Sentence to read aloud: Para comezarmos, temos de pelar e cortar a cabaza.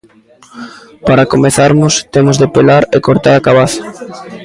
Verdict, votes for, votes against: accepted, 2, 0